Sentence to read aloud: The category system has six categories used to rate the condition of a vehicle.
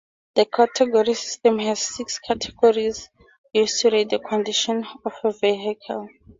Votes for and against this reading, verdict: 2, 0, accepted